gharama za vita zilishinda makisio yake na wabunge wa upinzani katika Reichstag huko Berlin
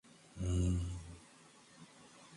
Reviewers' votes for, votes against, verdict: 0, 2, rejected